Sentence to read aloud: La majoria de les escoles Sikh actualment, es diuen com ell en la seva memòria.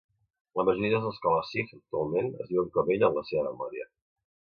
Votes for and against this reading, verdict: 1, 2, rejected